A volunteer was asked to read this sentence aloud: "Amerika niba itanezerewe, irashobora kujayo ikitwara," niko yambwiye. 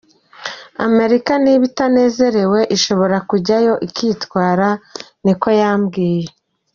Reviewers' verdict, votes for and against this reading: accepted, 2, 1